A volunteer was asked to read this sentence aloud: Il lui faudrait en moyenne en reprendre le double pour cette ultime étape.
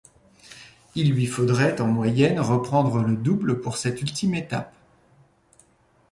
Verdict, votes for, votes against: rejected, 1, 2